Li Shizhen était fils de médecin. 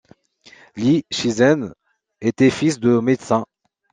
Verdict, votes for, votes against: accepted, 2, 0